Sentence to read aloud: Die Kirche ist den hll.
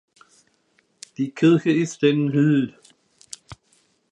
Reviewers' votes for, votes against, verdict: 1, 2, rejected